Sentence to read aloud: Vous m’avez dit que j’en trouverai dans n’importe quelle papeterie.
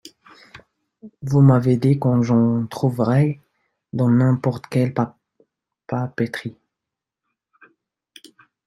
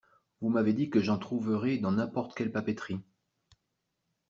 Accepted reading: second